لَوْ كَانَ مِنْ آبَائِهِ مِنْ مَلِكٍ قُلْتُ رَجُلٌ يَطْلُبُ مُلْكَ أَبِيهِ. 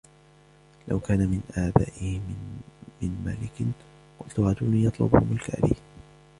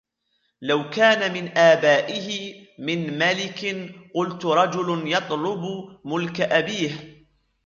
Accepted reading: second